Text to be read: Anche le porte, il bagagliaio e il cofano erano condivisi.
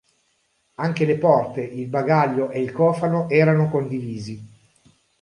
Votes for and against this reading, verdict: 0, 2, rejected